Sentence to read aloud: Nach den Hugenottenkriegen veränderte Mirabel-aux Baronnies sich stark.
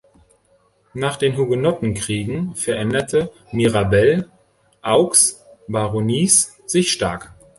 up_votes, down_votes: 1, 2